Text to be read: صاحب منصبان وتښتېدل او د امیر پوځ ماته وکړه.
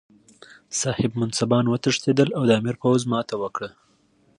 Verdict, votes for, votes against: accepted, 2, 0